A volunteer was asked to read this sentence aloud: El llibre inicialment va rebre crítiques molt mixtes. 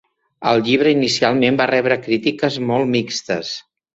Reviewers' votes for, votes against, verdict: 3, 0, accepted